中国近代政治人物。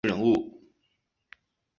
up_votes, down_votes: 0, 2